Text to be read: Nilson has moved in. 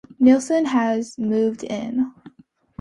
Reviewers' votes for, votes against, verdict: 2, 0, accepted